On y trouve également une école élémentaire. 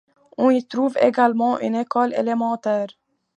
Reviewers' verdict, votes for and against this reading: accepted, 2, 0